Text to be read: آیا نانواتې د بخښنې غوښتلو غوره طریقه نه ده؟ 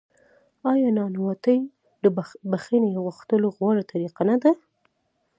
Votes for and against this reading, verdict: 0, 2, rejected